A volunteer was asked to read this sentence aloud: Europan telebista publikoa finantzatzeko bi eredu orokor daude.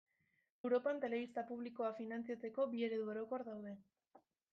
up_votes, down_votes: 0, 2